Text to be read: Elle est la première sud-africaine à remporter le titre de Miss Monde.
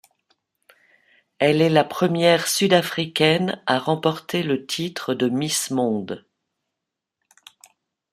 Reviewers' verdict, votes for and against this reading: accepted, 2, 0